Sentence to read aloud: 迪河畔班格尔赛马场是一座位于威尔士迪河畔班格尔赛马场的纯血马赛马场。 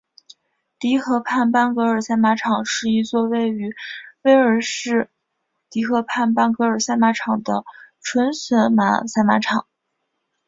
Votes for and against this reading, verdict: 2, 0, accepted